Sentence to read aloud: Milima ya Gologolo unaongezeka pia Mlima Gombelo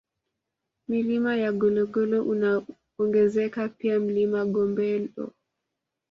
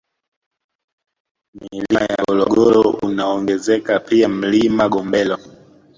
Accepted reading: first